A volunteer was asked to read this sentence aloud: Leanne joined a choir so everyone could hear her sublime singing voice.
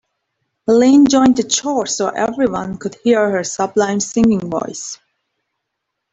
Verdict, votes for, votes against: rejected, 2, 3